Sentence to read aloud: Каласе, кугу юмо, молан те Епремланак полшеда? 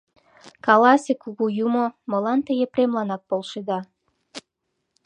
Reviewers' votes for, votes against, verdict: 2, 0, accepted